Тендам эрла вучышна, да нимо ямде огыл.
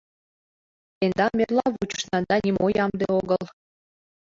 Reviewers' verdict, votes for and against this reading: rejected, 0, 2